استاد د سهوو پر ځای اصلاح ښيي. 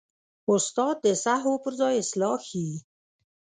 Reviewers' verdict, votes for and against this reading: accepted, 2, 0